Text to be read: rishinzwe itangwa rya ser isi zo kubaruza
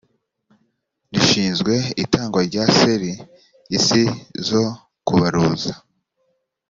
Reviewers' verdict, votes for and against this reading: accepted, 2, 0